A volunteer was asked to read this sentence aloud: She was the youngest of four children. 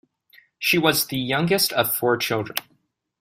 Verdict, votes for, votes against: accepted, 2, 0